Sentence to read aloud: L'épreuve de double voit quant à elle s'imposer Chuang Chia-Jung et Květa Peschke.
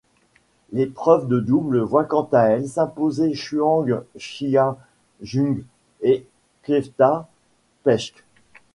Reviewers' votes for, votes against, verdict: 2, 1, accepted